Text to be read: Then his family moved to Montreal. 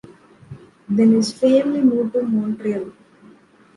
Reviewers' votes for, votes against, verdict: 2, 0, accepted